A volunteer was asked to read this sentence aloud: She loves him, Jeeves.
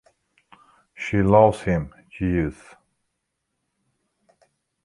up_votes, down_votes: 2, 1